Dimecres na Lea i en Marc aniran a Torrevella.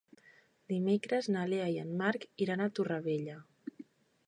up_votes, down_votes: 0, 2